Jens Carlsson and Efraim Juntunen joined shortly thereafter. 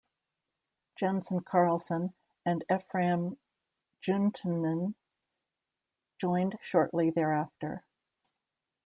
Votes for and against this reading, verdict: 1, 2, rejected